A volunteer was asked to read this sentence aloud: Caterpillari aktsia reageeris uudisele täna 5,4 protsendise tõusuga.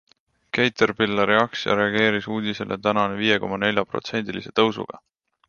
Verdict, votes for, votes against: rejected, 0, 2